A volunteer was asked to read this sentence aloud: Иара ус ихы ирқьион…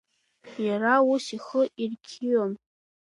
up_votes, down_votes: 2, 0